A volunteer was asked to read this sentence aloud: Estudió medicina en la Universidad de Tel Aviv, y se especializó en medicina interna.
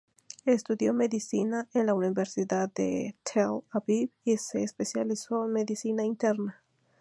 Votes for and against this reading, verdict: 4, 0, accepted